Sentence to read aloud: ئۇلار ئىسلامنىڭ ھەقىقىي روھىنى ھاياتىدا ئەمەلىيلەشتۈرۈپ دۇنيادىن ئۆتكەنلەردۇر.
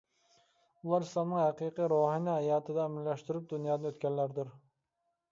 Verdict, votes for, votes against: rejected, 0, 2